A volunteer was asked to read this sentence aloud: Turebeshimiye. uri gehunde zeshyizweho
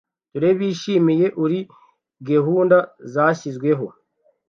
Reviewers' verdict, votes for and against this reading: rejected, 1, 2